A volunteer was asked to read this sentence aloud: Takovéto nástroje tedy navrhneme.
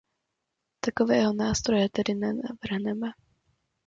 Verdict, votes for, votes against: rejected, 0, 2